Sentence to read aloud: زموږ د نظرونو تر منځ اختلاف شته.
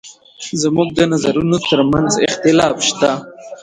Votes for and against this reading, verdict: 1, 2, rejected